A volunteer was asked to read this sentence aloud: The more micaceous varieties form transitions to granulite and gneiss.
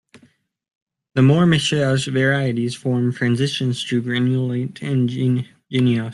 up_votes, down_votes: 0, 2